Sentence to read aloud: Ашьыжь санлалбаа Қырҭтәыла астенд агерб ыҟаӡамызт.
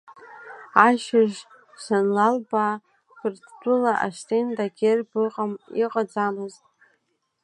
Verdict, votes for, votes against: rejected, 1, 2